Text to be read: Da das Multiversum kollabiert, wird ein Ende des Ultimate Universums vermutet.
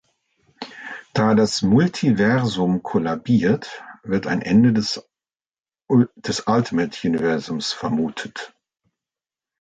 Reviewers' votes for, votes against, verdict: 0, 2, rejected